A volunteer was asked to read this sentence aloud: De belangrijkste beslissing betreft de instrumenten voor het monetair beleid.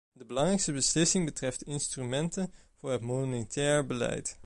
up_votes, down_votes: 1, 2